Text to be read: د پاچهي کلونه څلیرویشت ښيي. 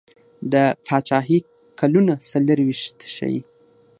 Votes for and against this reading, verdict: 6, 0, accepted